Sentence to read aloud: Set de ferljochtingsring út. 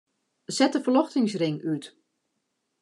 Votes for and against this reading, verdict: 3, 0, accepted